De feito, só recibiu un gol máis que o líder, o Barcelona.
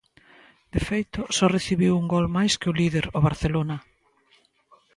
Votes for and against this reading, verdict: 2, 0, accepted